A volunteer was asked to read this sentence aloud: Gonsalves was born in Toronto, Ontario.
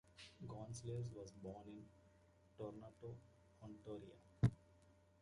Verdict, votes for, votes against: rejected, 0, 2